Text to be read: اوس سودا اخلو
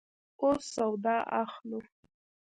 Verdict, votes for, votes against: accepted, 2, 1